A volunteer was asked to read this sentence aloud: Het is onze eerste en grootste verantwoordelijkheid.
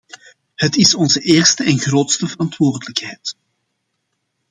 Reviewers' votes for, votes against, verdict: 2, 0, accepted